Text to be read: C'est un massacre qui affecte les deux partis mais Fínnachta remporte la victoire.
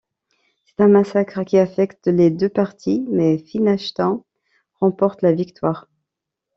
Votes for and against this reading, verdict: 1, 2, rejected